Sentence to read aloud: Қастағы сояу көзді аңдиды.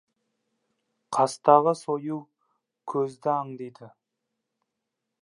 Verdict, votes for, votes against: rejected, 1, 2